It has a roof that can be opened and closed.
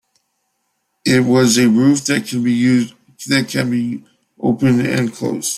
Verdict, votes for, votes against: rejected, 0, 2